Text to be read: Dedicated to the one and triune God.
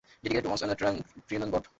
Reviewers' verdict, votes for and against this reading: rejected, 0, 2